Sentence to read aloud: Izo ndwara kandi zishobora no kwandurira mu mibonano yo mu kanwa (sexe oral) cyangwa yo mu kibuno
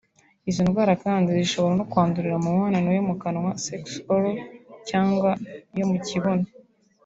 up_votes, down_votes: 3, 0